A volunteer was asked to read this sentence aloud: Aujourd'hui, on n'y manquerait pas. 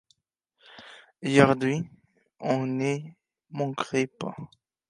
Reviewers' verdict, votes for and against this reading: rejected, 0, 2